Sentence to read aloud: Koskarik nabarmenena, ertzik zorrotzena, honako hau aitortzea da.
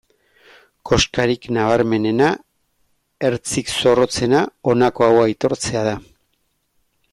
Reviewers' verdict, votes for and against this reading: accepted, 2, 0